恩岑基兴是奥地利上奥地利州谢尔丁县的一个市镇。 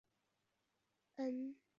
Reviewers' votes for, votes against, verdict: 0, 3, rejected